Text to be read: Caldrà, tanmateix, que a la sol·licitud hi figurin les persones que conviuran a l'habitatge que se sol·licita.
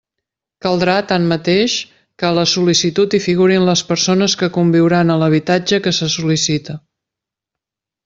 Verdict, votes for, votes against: accepted, 2, 0